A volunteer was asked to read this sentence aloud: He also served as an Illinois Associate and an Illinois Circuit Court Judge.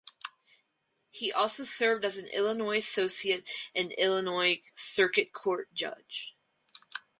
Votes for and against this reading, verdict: 2, 4, rejected